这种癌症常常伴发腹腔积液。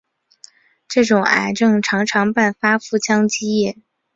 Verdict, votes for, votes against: accepted, 4, 0